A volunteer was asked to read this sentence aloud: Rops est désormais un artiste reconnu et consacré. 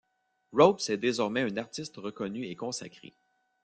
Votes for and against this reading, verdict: 2, 0, accepted